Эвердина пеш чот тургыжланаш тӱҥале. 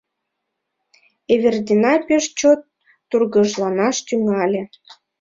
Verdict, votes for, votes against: accepted, 2, 0